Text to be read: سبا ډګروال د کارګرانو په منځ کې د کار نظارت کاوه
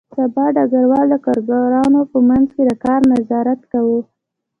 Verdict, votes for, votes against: rejected, 1, 2